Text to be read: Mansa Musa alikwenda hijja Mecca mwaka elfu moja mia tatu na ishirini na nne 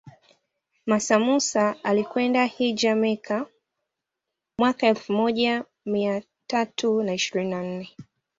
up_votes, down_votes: 2, 0